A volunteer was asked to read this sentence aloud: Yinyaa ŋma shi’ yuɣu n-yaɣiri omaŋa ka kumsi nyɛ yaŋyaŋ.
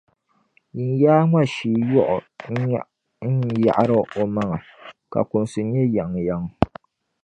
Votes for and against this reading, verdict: 0, 2, rejected